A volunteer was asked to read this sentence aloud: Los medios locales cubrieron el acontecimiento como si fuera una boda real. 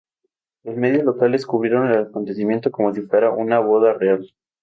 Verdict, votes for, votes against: rejected, 2, 2